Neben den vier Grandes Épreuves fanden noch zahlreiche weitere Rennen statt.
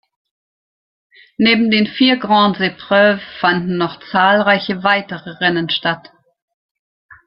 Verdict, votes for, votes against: accepted, 2, 0